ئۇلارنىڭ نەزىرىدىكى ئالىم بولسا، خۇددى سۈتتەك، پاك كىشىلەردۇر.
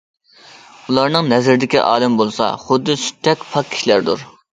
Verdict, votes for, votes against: accepted, 2, 0